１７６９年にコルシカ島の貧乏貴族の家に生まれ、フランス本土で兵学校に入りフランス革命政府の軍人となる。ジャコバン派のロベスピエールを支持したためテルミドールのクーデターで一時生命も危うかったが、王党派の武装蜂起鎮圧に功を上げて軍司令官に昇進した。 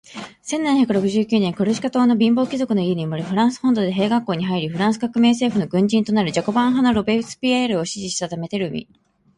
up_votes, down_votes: 0, 2